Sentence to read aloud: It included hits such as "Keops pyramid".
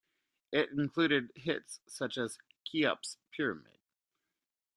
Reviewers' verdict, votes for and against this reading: rejected, 1, 2